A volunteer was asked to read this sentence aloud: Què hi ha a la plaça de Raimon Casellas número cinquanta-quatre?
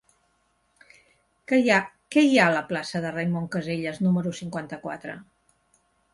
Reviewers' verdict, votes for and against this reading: rejected, 0, 2